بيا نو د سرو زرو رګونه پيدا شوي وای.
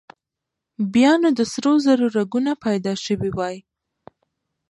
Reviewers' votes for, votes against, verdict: 1, 2, rejected